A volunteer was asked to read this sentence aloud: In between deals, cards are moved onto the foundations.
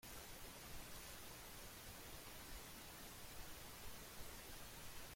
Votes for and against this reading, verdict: 0, 2, rejected